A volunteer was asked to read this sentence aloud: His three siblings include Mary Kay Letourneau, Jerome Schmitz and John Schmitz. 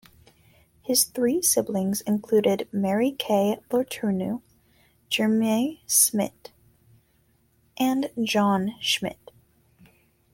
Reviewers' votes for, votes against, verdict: 1, 2, rejected